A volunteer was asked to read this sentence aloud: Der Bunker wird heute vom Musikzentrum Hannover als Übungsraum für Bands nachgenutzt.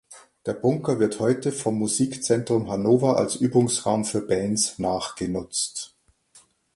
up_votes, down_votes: 2, 0